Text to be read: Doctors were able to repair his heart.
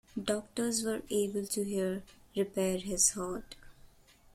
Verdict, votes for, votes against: rejected, 0, 2